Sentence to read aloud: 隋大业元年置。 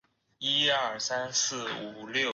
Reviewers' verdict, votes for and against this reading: rejected, 0, 2